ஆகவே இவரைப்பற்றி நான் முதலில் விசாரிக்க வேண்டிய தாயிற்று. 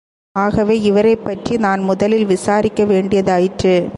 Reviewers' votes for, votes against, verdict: 2, 0, accepted